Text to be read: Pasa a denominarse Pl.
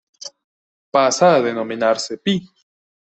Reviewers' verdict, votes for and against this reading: accepted, 2, 1